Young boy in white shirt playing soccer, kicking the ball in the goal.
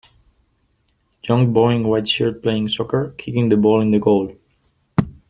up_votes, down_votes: 3, 2